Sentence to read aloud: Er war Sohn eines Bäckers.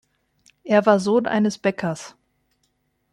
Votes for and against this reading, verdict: 2, 0, accepted